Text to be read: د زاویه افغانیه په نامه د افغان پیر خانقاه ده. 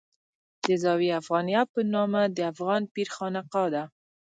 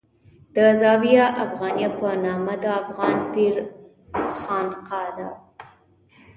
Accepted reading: second